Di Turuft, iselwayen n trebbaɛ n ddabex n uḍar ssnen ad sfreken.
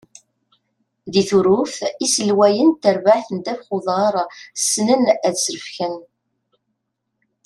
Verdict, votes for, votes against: rejected, 1, 2